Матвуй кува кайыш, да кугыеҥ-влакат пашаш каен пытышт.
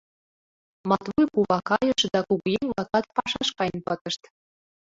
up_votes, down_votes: 1, 2